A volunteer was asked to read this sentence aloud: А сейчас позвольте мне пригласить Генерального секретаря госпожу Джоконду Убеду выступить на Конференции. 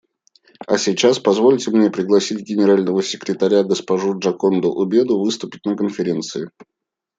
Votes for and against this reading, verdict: 2, 0, accepted